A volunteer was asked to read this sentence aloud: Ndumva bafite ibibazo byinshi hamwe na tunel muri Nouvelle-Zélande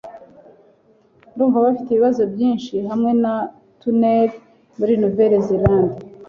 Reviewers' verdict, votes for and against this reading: accepted, 2, 0